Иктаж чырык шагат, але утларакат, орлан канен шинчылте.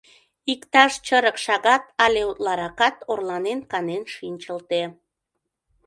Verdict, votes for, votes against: rejected, 1, 2